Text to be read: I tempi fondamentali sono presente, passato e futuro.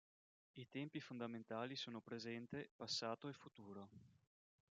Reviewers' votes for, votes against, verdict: 1, 2, rejected